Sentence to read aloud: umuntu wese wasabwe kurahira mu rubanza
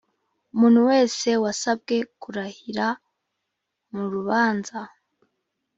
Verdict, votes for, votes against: accepted, 2, 0